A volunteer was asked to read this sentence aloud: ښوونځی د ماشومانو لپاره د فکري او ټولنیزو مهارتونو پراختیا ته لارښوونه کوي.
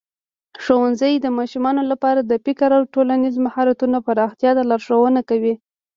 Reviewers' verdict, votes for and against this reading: accepted, 2, 1